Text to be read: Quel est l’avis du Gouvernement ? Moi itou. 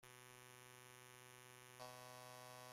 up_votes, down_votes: 1, 2